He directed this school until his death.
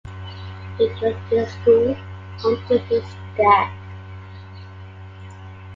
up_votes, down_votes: 1, 2